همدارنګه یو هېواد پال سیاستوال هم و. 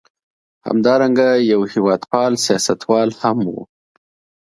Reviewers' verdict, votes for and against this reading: accepted, 2, 0